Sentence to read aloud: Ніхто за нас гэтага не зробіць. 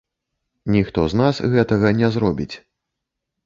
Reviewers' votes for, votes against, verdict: 0, 2, rejected